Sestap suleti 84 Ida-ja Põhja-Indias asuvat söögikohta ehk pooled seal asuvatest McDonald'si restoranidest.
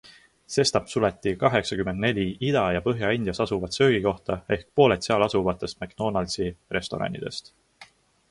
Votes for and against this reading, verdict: 0, 2, rejected